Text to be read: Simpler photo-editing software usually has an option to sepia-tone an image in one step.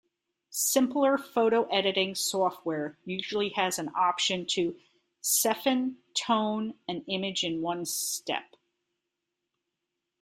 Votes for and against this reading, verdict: 1, 2, rejected